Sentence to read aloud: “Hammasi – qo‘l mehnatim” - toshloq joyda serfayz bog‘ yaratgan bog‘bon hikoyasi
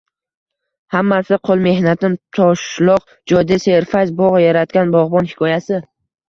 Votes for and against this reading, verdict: 0, 2, rejected